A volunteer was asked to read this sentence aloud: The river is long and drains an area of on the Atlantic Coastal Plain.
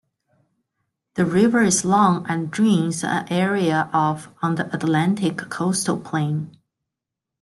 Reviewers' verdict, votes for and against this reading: accepted, 2, 1